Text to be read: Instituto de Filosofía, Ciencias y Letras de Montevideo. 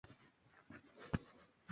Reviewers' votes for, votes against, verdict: 2, 4, rejected